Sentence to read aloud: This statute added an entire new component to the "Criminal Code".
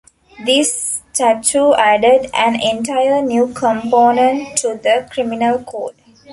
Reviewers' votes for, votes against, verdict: 0, 2, rejected